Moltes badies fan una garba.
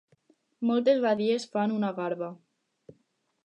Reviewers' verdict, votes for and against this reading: accepted, 4, 0